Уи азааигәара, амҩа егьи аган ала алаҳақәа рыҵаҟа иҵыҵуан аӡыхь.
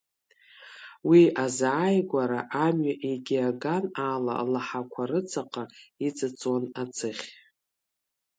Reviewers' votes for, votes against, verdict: 1, 2, rejected